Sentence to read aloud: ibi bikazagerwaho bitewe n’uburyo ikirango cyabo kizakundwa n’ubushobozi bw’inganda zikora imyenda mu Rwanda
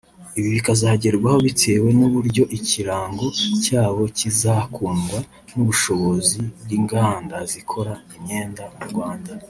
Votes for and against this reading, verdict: 2, 3, rejected